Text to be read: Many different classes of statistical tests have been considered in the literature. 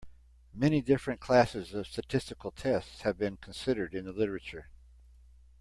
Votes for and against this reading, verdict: 2, 0, accepted